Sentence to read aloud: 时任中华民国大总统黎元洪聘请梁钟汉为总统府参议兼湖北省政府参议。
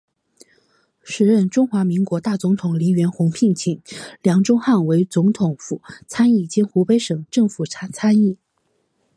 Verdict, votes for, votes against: accepted, 3, 0